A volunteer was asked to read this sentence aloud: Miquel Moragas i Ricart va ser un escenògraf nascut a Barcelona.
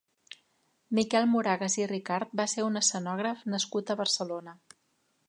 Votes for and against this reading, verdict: 2, 0, accepted